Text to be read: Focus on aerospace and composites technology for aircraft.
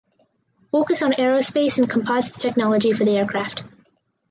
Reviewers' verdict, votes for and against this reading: rejected, 2, 4